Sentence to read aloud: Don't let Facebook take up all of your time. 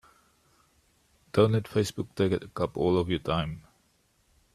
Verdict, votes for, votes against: rejected, 1, 3